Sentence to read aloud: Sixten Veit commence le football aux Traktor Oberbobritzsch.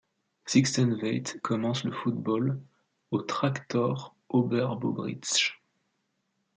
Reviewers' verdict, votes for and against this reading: accepted, 2, 0